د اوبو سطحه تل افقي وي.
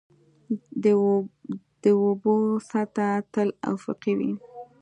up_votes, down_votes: 1, 2